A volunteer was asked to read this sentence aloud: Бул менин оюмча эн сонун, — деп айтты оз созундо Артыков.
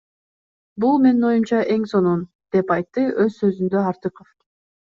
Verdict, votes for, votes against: accepted, 2, 1